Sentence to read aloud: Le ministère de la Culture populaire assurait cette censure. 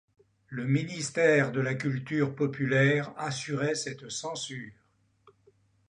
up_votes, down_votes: 2, 0